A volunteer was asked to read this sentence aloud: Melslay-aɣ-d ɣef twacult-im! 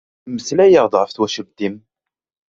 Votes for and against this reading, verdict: 2, 0, accepted